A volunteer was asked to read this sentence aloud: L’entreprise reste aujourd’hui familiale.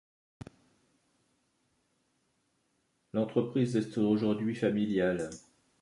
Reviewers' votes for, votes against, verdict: 1, 2, rejected